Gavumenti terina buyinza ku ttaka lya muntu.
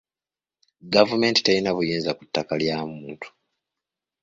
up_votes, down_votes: 3, 0